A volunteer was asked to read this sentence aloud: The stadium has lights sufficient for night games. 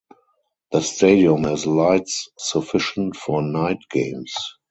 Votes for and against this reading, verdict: 2, 0, accepted